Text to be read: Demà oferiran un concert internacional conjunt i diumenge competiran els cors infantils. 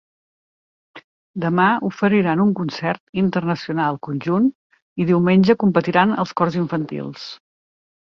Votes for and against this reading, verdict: 2, 0, accepted